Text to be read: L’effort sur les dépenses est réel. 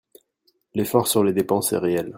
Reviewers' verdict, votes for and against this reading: accepted, 2, 0